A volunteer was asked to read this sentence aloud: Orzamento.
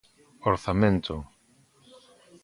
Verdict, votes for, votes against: accepted, 2, 0